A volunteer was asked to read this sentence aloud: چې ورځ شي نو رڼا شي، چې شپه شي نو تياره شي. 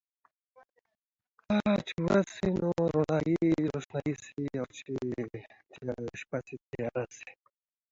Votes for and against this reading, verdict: 0, 2, rejected